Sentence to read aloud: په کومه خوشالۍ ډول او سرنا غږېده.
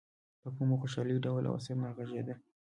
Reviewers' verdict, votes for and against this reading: rejected, 1, 2